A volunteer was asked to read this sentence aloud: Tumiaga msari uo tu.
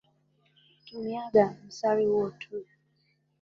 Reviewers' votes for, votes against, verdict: 1, 2, rejected